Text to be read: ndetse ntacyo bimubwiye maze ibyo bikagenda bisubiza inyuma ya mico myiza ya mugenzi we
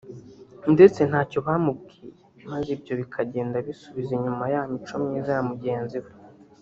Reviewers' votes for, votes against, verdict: 0, 2, rejected